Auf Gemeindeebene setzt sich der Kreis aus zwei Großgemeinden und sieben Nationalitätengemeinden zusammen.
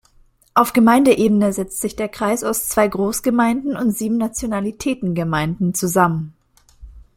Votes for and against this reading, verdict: 2, 0, accepted